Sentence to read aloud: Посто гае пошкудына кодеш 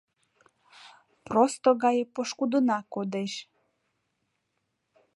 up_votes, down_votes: 0, 2